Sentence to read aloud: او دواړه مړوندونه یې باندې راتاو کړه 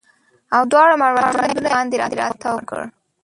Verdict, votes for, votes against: accepted, 2, 1